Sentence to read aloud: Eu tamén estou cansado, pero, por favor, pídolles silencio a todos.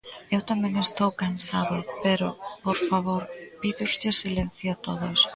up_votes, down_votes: 0, 2